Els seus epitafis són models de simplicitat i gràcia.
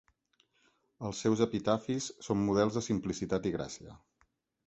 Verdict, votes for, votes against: accepted, 6, 0